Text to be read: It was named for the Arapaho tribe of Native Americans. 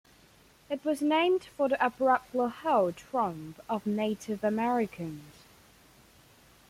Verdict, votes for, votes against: rejected, 1, 2